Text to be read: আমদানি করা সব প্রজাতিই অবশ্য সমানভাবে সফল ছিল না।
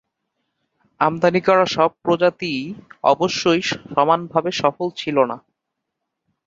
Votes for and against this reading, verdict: 0, 3, rejected